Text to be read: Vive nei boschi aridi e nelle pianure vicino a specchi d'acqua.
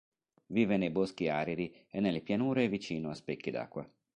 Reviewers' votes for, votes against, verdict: 2, 0, accepted